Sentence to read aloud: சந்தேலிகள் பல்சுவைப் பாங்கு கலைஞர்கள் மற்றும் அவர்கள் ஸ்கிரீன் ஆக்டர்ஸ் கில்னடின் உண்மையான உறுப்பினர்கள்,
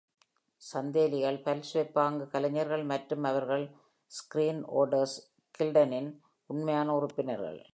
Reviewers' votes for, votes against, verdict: 0, 2, rejected